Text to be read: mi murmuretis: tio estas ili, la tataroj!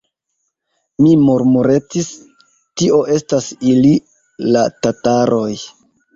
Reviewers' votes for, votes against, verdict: 0, 2, rejected